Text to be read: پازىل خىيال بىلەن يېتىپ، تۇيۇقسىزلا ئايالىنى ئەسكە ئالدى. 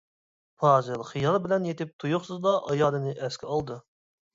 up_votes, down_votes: 2, 0